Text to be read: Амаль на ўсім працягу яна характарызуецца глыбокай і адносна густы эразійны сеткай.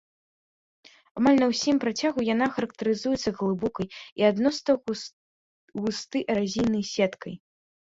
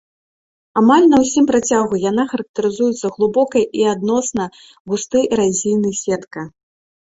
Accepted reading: first